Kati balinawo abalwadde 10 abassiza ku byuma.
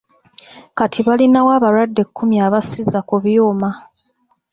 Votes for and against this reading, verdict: 0, 2, rejected